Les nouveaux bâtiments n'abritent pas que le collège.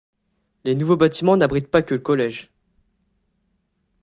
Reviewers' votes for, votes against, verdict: 0, 2, rejected